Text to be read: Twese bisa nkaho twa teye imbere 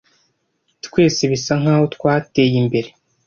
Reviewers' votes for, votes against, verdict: 2, 0, accepted